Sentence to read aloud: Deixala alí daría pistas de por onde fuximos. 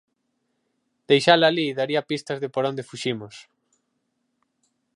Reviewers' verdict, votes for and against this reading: accepted, 4, 0